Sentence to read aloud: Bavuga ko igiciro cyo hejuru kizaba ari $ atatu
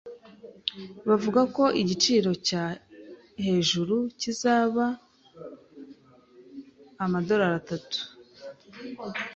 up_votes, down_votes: 0, 2